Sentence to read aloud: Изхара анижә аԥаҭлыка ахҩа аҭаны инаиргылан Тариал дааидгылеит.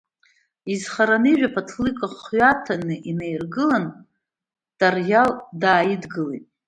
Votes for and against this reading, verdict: 2, 0, accepted